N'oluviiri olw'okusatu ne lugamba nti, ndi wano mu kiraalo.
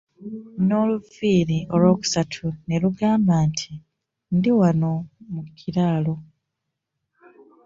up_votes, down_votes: 1, 2